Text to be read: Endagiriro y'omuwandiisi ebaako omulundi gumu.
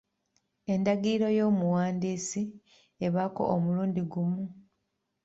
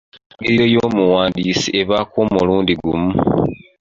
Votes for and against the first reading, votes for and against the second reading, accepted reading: 2, 0, 1, 2, first